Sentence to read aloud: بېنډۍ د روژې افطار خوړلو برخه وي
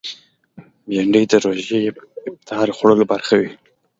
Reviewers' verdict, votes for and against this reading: accepted, 2, 0